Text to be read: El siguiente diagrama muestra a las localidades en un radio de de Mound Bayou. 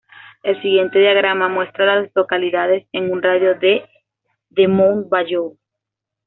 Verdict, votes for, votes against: accepted, 2, 0